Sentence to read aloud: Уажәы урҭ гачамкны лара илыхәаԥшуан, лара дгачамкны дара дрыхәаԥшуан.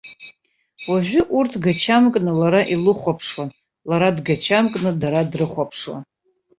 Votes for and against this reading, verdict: 2, 0, accepted